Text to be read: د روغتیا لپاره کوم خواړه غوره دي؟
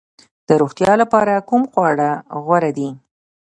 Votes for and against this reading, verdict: 2, 1, accepted